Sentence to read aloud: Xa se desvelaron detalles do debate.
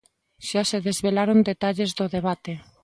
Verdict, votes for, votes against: accepted, 2, 0